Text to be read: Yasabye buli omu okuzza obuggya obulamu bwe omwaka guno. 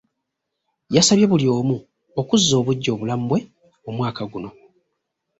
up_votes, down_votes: 2, 0